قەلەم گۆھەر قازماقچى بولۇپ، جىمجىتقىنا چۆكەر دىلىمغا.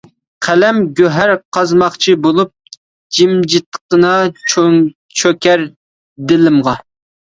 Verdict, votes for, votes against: rejected, 0, 2